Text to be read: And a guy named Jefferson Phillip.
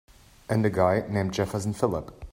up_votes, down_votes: 2, 0